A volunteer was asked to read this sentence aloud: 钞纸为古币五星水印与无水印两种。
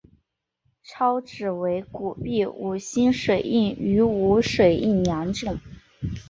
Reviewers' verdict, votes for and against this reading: accepted, 5, 0